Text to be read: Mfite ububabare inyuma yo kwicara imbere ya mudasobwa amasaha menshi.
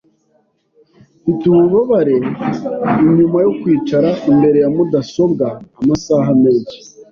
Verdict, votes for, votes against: accepted, 2, 0